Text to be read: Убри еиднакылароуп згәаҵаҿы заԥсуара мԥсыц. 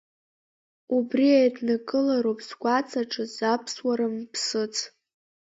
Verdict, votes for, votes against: accepted, 2, 0